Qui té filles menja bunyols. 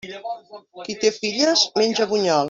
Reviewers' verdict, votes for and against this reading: rejected, 0, 2